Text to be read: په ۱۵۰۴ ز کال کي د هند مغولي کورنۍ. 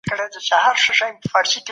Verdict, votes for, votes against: rejected, 0, 2